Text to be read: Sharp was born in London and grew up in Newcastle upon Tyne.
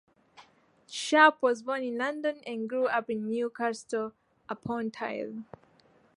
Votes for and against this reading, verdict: 2, 0, accepted